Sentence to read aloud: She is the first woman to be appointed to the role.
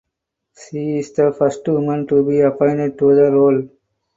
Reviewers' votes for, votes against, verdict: 4, 2, accepted